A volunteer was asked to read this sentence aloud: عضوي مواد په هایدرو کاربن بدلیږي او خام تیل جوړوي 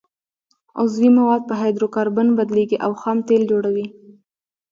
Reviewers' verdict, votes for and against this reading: accepted, 2, 1